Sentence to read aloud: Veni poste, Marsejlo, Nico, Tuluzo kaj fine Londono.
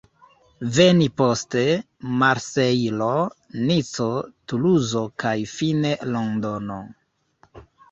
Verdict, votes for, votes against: rejected, 0, 2